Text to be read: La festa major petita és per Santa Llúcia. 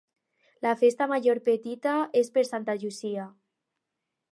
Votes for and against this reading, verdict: 2, 2, rejected